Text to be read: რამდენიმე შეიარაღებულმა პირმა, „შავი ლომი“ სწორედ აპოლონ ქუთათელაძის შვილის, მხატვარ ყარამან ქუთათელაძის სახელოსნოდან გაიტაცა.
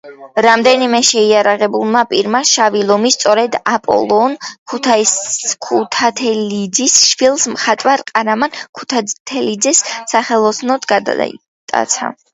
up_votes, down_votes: 0, 2